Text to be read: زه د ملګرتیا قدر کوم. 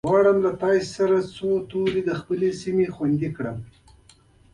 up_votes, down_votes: 0, 2